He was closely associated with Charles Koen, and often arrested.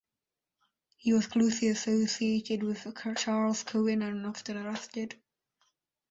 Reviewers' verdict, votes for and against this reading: rejected, 0, 2